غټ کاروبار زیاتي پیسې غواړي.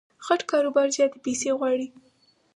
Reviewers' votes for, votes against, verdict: 4, 0, accepted